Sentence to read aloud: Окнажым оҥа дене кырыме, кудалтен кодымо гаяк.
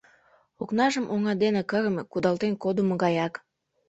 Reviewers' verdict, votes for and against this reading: accepted, 2, 0